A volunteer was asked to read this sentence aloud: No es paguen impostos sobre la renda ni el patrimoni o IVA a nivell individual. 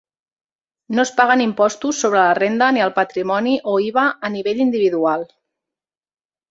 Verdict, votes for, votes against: accepted, 3, 0